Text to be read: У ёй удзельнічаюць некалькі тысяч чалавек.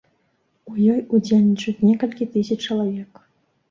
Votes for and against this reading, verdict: 2, 0, accepted